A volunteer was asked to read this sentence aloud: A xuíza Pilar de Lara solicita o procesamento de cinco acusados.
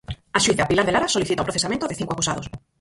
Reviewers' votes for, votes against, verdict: 0, 4, rejected